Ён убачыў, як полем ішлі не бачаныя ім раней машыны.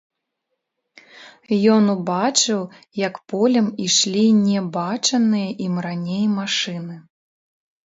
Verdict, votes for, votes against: rejected, 0, 2